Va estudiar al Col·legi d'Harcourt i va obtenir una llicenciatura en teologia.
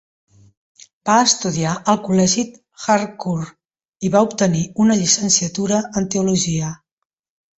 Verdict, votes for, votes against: rejected, 1, 2